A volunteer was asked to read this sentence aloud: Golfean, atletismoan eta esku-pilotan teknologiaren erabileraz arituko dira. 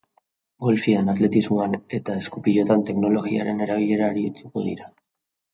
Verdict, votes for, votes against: accepted, 2, 0